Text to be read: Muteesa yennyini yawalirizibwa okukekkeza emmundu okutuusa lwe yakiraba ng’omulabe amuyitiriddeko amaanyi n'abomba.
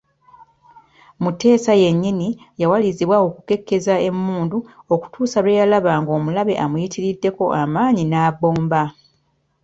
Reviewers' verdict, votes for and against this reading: rejected, 1, 2